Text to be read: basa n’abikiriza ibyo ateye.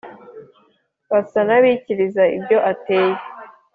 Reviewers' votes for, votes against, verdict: 2, 0, accepted